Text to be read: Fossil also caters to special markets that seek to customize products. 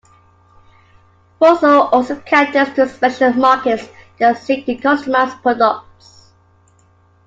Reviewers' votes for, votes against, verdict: 3, 2, accepted